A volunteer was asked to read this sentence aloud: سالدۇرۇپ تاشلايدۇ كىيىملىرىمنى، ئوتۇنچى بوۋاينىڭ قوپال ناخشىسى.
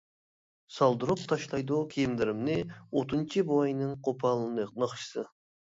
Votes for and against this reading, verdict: 1, 2, rejected